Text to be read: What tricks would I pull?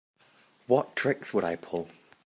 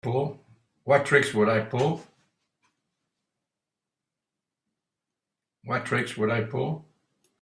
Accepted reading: first